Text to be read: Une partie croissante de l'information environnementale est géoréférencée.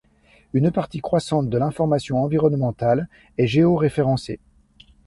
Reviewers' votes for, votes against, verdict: 2, 0, accepted